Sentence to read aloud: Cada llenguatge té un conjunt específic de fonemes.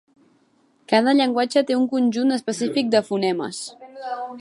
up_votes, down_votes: 0, 2